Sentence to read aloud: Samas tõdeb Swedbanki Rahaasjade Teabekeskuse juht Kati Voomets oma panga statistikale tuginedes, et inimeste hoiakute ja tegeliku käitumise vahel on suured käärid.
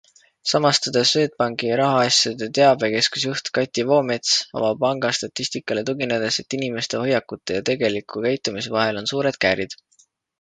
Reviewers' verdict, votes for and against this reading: rejected, 1, 2